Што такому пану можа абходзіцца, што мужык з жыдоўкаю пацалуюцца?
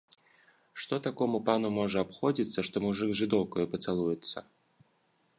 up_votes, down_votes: 2, 0